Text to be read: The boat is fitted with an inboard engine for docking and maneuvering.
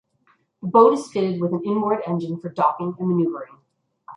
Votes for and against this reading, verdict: 0, 2, rejected